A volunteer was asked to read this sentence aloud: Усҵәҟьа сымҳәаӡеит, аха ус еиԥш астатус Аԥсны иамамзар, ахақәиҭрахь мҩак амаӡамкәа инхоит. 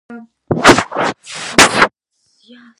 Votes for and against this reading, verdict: 0, 2, rejected